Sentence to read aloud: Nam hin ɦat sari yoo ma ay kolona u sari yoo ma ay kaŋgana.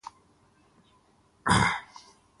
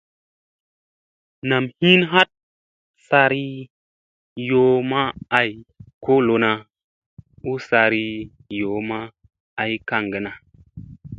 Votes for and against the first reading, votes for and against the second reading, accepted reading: 0, 2, 2, 0, second